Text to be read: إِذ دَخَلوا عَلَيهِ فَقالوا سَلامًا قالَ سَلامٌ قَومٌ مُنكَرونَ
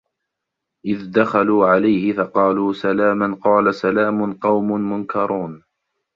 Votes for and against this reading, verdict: 2, 0, accepted